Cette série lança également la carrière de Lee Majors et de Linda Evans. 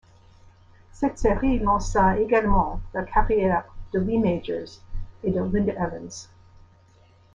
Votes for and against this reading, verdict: 2, 1, accepted